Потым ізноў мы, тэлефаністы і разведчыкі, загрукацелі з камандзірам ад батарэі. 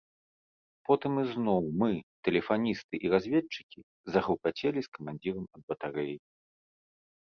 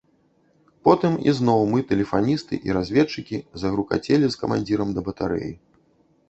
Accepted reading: first